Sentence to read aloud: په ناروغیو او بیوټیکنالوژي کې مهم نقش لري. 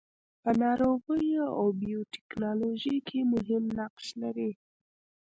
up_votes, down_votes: 2, 0